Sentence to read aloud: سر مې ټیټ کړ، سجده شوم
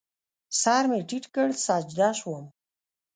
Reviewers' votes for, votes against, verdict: 1, 2, rejected